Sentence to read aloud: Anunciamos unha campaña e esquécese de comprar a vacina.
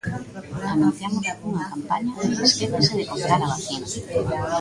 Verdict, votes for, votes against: rejected, 0, 2